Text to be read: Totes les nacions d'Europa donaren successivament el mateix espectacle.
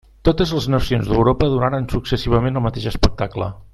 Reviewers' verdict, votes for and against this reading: accepted, 3, 0